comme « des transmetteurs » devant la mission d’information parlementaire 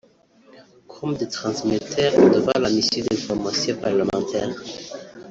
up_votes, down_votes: 0, 2